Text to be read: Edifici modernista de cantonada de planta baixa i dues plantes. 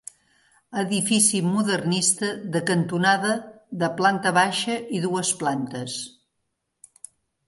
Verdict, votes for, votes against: accepted, 3, 0